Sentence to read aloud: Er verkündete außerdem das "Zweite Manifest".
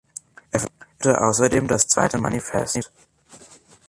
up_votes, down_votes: 1, 3